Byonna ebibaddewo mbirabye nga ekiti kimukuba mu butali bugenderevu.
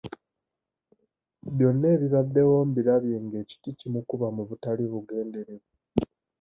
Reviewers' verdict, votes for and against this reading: rejected, 0, 2